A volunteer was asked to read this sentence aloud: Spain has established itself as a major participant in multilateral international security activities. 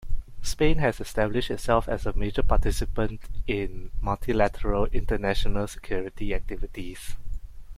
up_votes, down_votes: 2, 1